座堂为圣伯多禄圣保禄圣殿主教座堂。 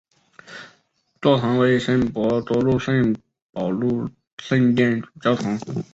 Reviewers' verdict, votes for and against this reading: rejected, 1, 3